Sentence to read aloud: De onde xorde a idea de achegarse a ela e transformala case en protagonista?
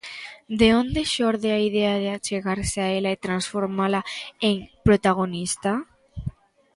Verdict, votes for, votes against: rejected, 0, 2